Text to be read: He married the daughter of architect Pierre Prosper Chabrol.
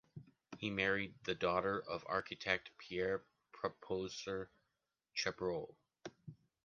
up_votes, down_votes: 0, 2